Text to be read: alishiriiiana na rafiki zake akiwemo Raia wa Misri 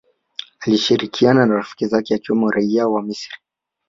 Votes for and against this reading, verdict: 1, 2, rejected